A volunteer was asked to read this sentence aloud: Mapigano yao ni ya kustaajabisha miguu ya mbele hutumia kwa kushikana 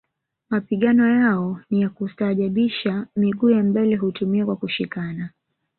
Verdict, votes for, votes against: rejected, 1, 2